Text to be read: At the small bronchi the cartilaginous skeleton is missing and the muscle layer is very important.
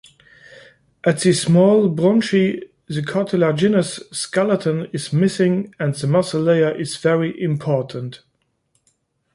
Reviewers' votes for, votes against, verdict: 1, 2, rejected